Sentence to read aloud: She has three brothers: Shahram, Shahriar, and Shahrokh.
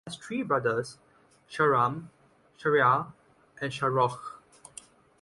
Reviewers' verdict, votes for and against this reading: rejected, 1, 2